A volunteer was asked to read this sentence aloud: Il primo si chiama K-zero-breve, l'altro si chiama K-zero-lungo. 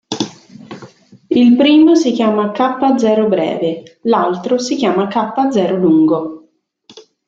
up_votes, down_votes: 2, 0